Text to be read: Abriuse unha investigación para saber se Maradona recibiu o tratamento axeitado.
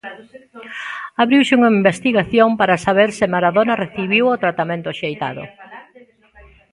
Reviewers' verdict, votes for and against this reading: rejected, 1, 2